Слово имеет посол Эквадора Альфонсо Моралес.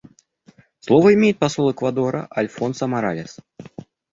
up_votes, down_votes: 2, 0